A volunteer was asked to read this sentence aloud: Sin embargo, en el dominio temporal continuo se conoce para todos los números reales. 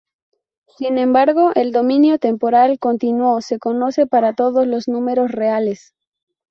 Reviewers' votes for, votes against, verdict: 0, 2, rejected